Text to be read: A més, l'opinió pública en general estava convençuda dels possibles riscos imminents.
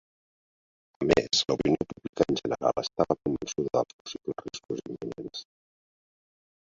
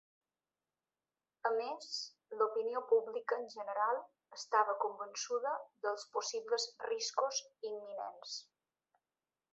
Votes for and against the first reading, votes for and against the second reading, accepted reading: 0, 2, 2, 0, second